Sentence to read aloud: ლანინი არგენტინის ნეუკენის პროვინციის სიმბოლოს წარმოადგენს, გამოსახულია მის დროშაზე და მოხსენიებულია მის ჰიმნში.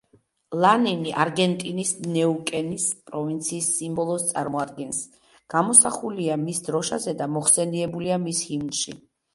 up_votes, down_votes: 2, 0